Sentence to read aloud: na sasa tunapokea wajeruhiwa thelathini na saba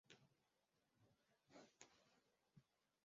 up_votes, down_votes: 0, 2